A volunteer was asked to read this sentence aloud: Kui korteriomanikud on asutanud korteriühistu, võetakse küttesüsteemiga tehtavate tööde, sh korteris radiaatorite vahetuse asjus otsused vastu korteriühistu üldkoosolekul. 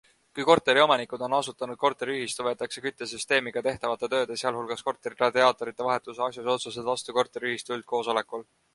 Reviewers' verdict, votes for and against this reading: rejected, 1, 2